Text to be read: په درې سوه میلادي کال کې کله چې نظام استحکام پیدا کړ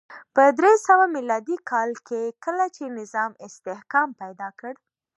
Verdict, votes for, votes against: accepted, 2, 0